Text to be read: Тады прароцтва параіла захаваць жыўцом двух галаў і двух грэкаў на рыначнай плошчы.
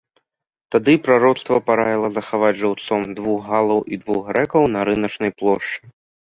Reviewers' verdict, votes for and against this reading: accepted, 2, 0